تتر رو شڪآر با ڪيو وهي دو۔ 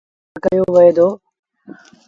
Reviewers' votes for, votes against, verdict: 0, 2, rejected